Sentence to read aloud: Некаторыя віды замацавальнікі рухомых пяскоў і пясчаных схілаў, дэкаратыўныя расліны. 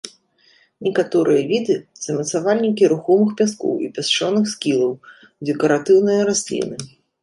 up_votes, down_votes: 0, 2